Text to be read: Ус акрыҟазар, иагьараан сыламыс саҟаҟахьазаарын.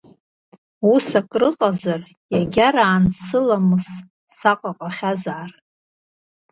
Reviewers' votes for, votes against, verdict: 1, 2, rejected